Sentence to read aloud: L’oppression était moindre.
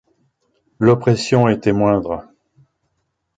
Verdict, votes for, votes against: accepted, 2, 0